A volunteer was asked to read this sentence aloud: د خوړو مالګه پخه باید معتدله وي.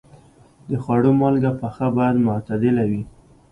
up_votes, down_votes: 2, 0